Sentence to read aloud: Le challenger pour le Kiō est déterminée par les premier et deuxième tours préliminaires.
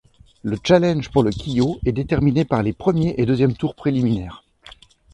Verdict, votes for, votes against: rejected, 1, 2